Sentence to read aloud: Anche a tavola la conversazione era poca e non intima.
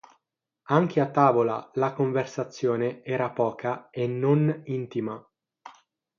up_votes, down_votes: 6, 0